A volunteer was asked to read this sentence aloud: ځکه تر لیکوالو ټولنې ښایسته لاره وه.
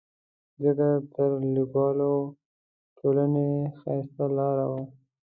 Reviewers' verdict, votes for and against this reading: rejected, 1, 2